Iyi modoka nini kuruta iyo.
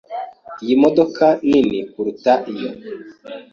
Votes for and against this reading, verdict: 2, 0, accepted